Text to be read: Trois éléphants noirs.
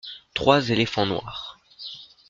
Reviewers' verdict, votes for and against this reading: accepted, 2, 0